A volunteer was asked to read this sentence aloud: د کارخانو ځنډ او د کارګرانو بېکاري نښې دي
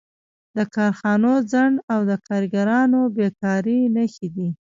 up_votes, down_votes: 0, 2